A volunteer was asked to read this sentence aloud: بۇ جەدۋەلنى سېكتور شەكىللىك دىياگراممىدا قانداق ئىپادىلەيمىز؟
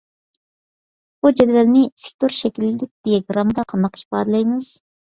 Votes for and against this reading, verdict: 2, 0, accepted